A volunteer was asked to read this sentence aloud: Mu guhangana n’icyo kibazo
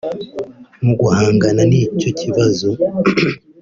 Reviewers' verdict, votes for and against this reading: accepted, 3, 0